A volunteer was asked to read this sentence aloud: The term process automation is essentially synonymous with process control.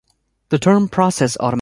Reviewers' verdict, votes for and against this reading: rejected, 1, 2